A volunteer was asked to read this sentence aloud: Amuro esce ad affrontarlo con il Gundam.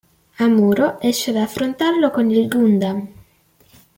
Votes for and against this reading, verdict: 2, 0, accepted